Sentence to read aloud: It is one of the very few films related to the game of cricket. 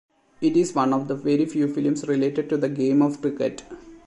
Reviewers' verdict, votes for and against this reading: accepted, 2, 0